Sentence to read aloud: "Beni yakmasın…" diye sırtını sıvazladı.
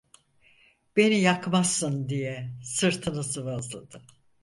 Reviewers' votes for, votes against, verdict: 2, 4, rejected